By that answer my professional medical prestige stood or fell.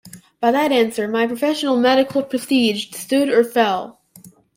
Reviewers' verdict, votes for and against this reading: accepted, 2, 0